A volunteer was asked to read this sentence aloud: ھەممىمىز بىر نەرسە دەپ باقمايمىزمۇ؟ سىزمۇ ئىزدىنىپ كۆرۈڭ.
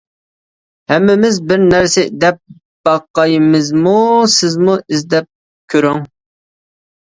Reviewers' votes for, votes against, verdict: 1, 2, rejected